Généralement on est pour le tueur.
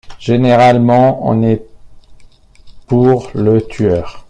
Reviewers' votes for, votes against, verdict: 0, 2, rejected